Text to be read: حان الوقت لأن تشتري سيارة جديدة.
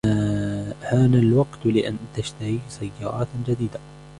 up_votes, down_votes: 2, 1